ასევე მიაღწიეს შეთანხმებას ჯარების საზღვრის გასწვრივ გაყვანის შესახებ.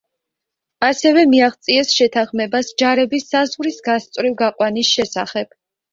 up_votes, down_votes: 2, 0